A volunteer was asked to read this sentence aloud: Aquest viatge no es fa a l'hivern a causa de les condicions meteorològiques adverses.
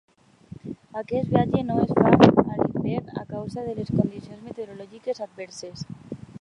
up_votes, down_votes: 0, 2